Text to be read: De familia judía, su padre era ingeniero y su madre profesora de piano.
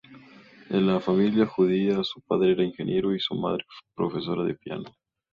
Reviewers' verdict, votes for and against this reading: accepted, 2, 0